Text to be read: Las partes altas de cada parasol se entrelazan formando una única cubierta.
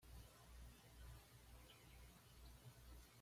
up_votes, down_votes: 1, 2